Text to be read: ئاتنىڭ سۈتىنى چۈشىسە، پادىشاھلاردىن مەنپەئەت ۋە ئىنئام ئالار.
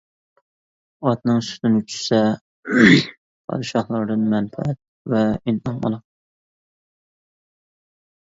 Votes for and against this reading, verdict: 0, 2, rejected